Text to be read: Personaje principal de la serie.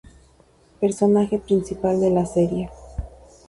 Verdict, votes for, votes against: accepted, 4, 0